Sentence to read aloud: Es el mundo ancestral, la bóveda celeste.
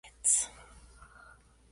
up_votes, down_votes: 0, 2